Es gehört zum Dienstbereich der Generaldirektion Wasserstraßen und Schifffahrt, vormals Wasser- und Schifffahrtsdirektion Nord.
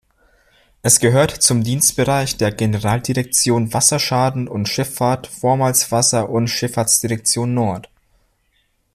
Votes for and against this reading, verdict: 0, 2, rejected